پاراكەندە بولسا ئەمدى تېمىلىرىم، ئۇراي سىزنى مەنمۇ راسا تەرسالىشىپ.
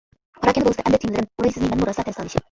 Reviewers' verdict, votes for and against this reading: rejected, 0, 2